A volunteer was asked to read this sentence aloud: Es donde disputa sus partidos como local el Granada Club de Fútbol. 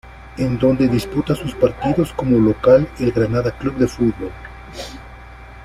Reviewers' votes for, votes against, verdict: 1, 2, rejected